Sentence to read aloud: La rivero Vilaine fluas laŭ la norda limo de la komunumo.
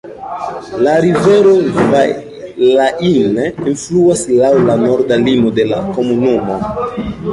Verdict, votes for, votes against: rejected, 1, 2